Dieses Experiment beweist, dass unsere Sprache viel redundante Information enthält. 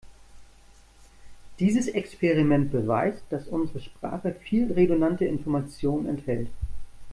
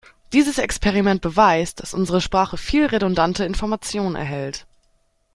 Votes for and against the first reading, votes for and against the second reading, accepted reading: 2, 0, 1, 3, first